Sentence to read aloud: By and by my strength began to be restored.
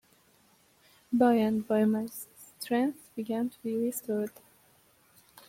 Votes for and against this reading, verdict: 0, 2, rejected